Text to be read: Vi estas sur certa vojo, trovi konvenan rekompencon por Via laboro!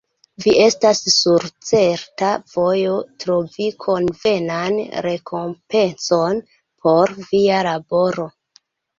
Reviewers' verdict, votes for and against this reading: accepted, 2, 0